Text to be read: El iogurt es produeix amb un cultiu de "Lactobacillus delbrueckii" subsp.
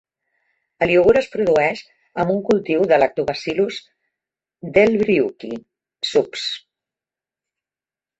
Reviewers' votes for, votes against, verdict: 1, 2, rejected